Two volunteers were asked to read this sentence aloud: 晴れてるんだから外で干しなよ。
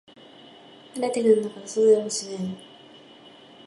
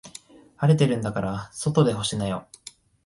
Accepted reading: second